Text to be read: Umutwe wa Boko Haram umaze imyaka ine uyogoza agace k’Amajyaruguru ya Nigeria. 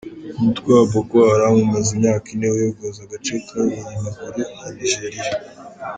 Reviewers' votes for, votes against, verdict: 0, 2, rejected